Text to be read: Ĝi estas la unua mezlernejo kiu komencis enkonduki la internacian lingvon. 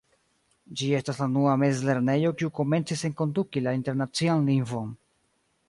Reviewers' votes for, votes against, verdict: 1, 2, rejected